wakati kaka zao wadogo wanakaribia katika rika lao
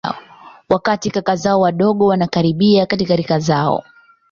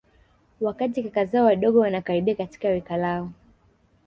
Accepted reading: second